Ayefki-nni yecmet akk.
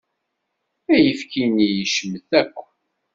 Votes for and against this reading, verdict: 2, 0, accepted